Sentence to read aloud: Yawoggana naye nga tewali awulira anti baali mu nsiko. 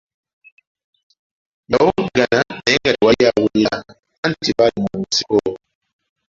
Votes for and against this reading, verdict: 2, 0, accepted